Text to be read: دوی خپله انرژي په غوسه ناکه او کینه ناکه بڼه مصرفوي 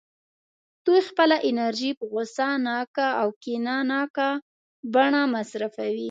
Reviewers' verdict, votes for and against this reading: accepted, 2, 0